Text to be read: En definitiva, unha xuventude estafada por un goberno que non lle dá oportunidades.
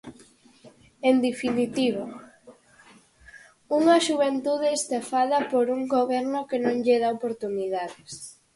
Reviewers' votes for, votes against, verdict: 4, 0, accepted